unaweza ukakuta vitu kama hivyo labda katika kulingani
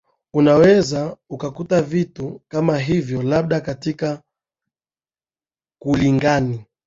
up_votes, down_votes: 2, 0